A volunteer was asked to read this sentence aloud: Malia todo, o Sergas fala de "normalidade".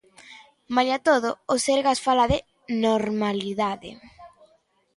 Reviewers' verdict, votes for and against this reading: accepted, 2, 1